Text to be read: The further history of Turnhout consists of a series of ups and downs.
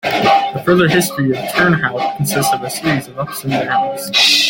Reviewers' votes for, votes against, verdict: 1, 2, rejected